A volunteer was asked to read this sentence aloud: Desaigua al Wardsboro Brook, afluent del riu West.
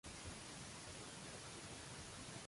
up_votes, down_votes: 0, 2